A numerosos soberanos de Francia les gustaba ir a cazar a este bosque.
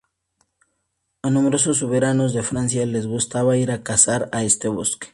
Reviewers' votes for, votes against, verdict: 4, 0, accepted